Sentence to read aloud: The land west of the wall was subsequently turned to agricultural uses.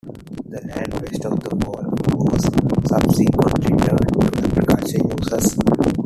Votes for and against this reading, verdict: 0, 2, rejected